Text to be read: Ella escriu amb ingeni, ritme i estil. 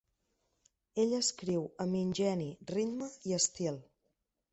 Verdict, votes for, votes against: accepted, 2, 0